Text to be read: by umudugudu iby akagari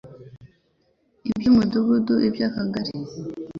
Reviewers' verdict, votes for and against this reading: rejected, 2, 3